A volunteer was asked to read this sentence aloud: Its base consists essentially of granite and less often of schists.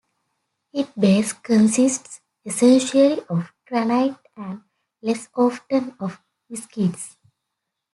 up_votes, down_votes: 0, 2